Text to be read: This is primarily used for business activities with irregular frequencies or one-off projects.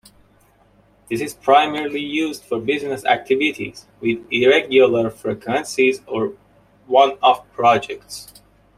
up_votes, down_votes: 2, 0